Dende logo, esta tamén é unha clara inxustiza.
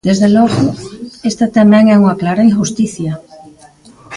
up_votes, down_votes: 0, 4